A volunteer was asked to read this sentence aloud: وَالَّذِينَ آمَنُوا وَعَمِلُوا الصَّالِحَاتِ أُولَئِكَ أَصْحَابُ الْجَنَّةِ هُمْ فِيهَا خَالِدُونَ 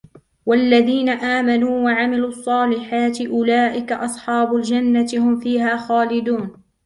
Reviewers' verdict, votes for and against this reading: rejected, 0, 2